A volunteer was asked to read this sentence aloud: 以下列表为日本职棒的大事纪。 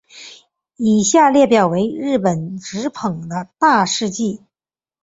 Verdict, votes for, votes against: accepted, 3, 2